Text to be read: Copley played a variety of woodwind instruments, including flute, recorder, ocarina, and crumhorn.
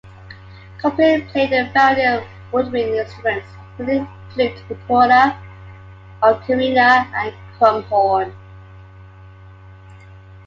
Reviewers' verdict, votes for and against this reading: accepted, 2, 1